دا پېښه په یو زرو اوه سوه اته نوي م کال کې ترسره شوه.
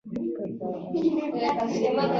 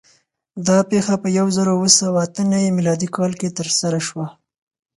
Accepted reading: second